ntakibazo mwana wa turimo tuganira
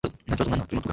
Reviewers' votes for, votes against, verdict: 1, 2, rejected